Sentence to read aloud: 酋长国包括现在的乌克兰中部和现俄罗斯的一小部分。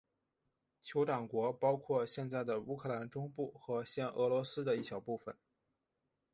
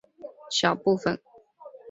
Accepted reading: first